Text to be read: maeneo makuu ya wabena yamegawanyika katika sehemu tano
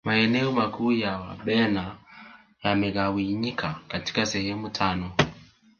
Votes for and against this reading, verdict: 2, 0, accepted